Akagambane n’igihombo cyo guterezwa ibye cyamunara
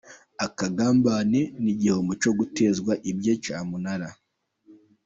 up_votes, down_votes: 0, 2